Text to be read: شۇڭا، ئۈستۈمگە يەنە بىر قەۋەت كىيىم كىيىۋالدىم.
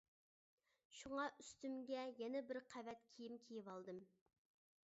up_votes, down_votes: 2, 0